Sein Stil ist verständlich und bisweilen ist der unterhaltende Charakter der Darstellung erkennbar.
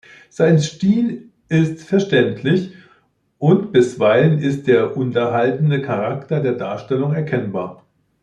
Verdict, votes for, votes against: accepted, 2, 0